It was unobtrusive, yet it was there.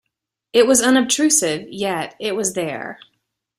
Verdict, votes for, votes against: accepted, 2, 0